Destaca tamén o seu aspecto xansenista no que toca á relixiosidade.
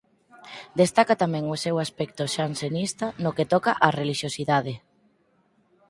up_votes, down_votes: 4, 0